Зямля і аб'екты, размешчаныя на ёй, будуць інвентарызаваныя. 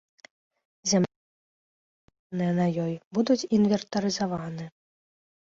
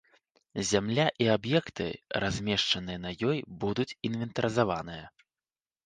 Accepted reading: second